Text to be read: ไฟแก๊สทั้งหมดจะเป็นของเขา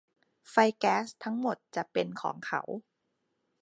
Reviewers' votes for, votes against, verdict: 2, 0, accepted